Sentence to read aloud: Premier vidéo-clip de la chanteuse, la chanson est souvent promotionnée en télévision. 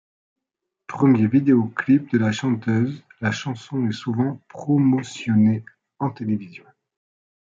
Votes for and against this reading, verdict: 2, 0, accepted